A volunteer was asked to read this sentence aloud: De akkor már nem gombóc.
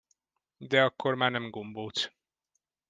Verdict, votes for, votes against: accepted, 2, 0